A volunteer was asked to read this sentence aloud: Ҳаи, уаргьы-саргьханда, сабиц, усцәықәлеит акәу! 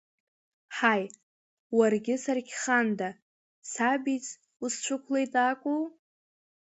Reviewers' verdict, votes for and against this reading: accepted, 3, 0